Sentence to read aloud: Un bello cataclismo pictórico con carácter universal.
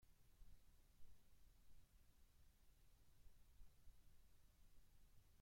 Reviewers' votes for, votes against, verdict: 0, 2, rejected